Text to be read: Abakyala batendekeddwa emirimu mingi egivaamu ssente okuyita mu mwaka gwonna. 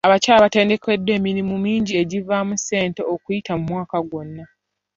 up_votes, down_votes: 2, 0